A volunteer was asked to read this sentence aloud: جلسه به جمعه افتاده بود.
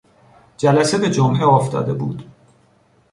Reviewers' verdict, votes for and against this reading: accepted, 2, 0